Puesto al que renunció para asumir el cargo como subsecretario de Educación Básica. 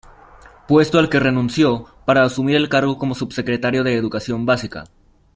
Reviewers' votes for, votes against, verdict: 2, 0, accepted